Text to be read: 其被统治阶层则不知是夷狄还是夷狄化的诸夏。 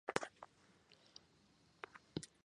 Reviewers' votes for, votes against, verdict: 0, 4, rejected